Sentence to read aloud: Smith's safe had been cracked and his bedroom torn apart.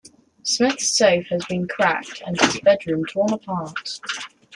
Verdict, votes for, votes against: rejected, 0, 2